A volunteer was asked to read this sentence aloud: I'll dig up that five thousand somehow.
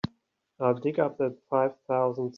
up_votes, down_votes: 0, 3